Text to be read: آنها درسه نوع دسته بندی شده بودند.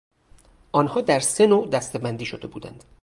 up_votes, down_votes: 2, 2